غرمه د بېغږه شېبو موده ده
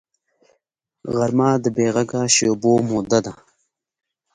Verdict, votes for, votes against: accepted, 2, 0